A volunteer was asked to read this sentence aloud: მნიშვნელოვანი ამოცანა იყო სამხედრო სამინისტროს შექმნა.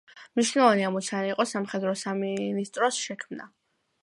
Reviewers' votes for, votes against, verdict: 2, 0, accepted